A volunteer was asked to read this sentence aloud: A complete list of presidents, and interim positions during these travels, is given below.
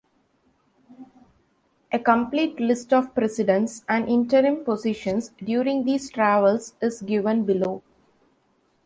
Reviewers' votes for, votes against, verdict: 2, 0, accepted